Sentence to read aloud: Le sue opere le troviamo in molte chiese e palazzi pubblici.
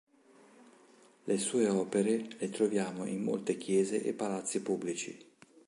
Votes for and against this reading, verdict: 2, 0, accepted